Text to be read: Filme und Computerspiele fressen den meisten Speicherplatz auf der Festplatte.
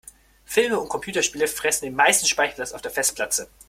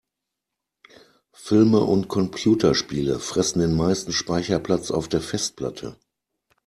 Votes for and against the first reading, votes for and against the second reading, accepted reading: 0, 2, 2, 0, second